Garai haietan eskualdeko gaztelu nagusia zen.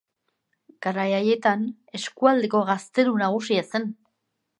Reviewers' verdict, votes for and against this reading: accepted, 2, 0